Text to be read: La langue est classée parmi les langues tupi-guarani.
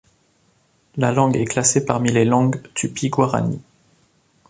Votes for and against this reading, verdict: 2, 0, accepted